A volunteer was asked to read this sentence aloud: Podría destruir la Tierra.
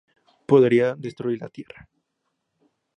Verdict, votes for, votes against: accepted, 2, 0